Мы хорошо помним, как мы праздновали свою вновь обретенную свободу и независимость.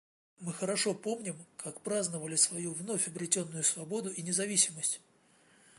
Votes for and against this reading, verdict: 0, 2, rejected